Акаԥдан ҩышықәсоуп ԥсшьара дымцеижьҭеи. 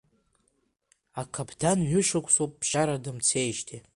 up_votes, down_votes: 2, 0